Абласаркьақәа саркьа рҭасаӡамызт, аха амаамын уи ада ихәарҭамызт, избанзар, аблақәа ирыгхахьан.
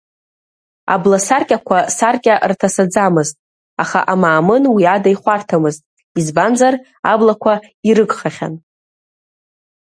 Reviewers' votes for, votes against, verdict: 1, 2, rejected